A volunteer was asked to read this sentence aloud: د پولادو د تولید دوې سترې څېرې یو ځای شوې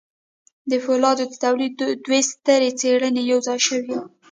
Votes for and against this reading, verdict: 0, 2, rejected